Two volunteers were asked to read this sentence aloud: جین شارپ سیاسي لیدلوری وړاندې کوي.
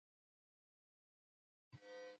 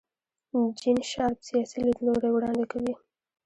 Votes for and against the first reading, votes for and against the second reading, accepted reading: 1, 2, 2, 0, second